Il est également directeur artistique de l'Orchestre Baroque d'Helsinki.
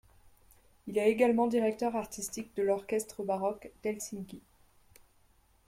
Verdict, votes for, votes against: rejected, 1, 2